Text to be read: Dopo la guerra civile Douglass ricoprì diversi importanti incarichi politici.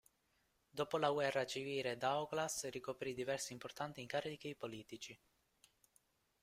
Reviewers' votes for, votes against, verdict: 0, 2, rejected